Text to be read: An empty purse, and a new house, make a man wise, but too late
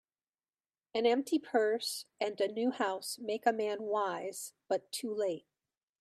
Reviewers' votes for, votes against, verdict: 2, 1, accepted